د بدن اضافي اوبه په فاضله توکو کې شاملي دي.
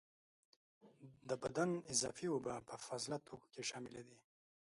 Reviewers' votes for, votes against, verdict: 1, 2, rejected